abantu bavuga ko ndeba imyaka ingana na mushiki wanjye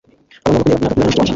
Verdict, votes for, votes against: rejected, 0, 2